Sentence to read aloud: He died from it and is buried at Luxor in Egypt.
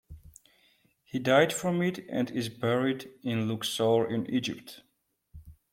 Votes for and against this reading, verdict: 1, 2, rejected